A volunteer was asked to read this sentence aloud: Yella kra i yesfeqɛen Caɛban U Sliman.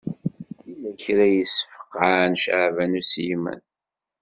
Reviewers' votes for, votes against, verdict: 1, 2, rejected